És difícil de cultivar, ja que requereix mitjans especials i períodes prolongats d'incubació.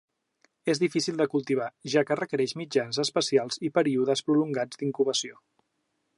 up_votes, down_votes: 2, 0